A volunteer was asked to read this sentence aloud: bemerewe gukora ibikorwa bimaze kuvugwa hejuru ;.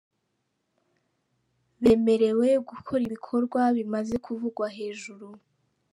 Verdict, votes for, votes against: accepted, 2, 0